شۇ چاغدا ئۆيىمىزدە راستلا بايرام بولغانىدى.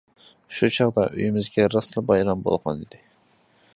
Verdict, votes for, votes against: accepted, 2, 0